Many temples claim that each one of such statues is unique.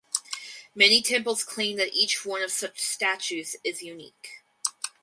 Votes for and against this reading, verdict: 2, 0, accepted